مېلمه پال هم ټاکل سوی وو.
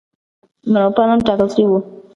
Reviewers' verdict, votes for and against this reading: rejected, 1, 2